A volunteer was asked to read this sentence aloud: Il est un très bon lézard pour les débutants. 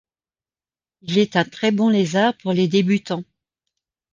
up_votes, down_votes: 2, 0